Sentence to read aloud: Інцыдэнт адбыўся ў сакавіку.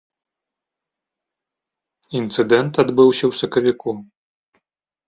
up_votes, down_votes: 3, 0